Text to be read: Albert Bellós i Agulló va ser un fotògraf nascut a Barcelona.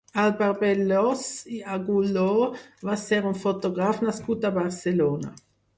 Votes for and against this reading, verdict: 2, 4, rejected